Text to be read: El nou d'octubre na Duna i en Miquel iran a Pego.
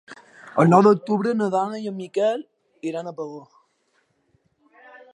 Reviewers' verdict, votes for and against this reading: rejected, 0, 2